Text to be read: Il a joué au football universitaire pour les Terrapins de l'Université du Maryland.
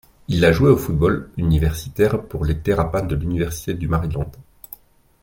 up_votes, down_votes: 2, 0